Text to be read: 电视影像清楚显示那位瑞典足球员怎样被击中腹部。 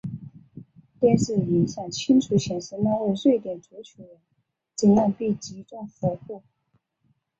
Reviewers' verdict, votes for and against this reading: accepted, 2, 0